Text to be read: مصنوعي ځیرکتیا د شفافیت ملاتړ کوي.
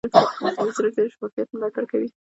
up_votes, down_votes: 1, 2